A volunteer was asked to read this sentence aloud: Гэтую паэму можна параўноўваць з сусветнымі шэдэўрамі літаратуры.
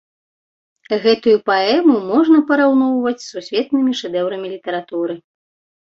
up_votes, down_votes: 2, 0